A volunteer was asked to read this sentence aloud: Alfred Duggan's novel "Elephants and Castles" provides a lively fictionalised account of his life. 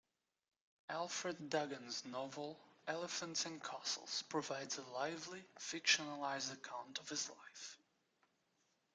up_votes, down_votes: 1, 2